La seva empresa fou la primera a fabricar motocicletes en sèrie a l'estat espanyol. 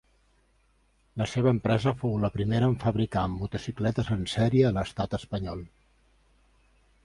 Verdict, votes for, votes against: rejected, 1, 2